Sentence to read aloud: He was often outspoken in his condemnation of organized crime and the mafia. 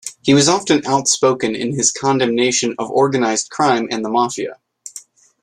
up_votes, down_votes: 2, 0